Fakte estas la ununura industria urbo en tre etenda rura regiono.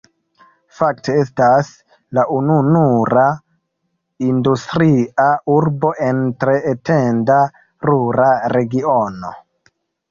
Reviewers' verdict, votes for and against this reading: accepted, 2, 0